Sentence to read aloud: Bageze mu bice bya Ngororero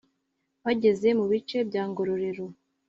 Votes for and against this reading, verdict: 2, 0, accepted